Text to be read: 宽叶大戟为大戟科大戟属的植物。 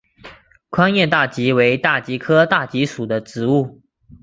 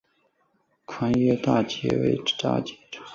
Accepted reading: first